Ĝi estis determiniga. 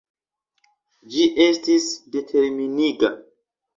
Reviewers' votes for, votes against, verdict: 2, 0, accepted